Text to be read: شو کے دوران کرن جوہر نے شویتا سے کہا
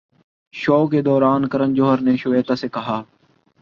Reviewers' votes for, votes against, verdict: 2, 0, accepted